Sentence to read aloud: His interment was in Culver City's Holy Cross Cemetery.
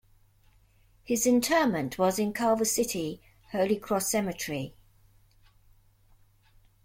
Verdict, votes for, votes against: rejected, 0, 2